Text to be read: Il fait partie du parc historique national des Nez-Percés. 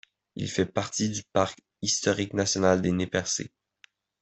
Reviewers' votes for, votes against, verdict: 2, 0, accepted